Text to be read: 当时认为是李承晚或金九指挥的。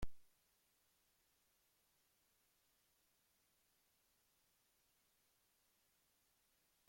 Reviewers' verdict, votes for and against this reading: rejected, 0, 2